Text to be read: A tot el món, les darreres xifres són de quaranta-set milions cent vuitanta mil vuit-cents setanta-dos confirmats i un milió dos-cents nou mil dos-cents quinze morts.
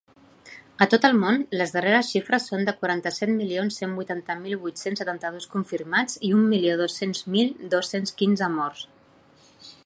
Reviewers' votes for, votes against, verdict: 0, 2, rejected